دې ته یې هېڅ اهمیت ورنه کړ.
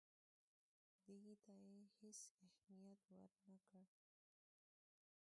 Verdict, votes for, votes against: rejected, 1, 2